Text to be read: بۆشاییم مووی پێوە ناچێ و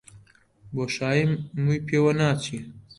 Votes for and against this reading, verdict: 0, 2, rejected